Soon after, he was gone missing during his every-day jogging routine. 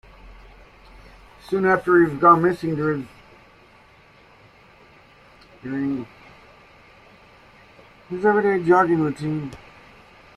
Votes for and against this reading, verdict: 1, 2, rejected